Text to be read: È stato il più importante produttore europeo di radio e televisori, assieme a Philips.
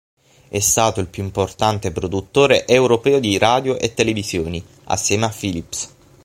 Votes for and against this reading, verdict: 0, 6, rejected